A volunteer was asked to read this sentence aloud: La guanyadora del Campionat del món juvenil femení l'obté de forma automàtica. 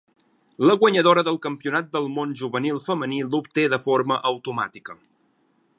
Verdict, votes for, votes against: accepted, 4, 0